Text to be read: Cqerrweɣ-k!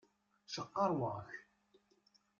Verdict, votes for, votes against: rejected, 1, 2